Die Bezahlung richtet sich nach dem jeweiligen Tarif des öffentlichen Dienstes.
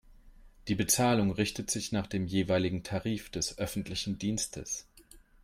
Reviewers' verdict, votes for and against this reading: accepted, 3, 0